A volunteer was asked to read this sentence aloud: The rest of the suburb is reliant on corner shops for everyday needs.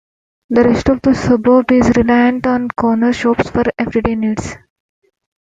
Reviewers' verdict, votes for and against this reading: accepted, 2, 0